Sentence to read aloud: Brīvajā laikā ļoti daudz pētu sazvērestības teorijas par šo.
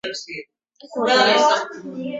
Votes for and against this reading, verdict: 0, 2, rejected